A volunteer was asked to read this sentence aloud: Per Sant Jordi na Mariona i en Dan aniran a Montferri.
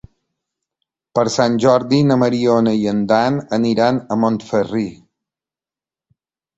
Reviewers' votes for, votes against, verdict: 1, 2, rejected